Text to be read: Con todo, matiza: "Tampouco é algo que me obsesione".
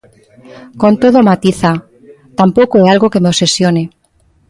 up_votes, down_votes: 2, 1